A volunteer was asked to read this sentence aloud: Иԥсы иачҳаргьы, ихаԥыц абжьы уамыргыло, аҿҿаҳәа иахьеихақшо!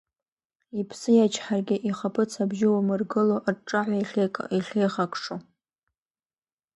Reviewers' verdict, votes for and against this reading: rejected, 0, 2